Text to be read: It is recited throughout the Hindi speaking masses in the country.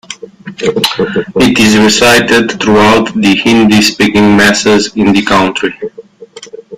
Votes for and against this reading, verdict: 0, 2, rejected